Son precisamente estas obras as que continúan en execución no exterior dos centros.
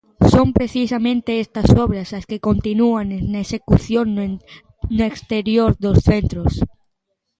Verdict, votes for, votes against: rejected, 0, 2